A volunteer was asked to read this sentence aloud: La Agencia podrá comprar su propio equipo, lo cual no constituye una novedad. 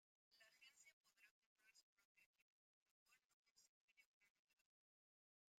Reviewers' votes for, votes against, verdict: 0, 2, rejected